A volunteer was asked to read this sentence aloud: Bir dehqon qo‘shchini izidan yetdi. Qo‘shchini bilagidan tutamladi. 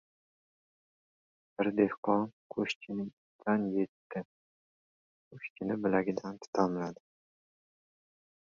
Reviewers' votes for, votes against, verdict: 0, 2, rejected